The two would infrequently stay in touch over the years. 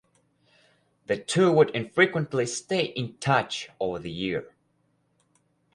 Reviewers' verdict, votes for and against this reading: rejected, 0, 4